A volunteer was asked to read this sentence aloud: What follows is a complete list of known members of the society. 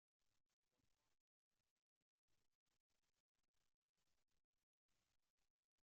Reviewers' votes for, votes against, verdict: 0, 2, rejected